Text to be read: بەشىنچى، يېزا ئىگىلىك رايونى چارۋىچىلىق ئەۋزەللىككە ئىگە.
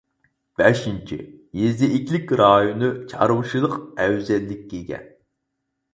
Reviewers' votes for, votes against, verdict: 2, 4, rejected